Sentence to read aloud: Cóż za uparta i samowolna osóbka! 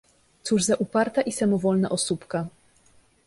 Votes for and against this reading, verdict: 2, 0, accepted